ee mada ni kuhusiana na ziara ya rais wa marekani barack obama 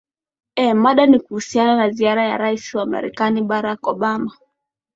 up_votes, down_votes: 5, 0